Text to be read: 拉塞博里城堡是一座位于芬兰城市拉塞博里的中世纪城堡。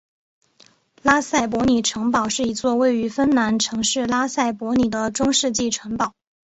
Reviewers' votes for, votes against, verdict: 2, 0, accepted